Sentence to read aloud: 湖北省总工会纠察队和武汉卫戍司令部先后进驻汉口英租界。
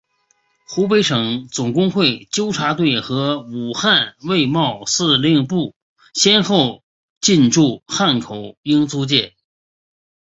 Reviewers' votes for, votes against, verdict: 5, 1, accepted